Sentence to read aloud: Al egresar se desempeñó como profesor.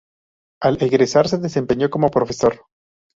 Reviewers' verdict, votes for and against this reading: accepted, 2, 0